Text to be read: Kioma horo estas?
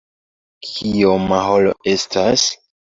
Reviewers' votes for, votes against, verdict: 2, 0, accepted